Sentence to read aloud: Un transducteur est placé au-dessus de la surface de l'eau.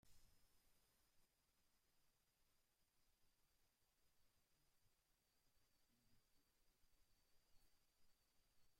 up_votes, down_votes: 0, 2